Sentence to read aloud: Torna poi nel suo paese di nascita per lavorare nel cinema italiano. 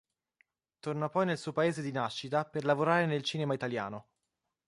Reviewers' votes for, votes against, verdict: 2, 0, accepted